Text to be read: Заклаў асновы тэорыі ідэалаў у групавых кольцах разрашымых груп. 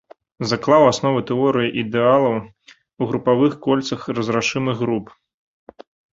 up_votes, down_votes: 2, 0